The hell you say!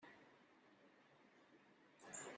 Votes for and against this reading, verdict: 0, 2, rejected